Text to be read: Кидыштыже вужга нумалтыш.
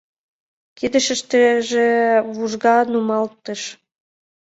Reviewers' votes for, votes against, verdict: 1, 5, rejected